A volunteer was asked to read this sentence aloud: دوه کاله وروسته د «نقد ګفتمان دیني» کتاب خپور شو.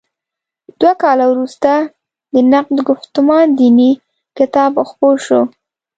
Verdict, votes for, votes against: accepted, 2, 0